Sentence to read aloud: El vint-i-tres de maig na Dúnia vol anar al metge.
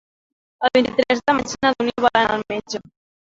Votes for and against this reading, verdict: 0, 2, rejected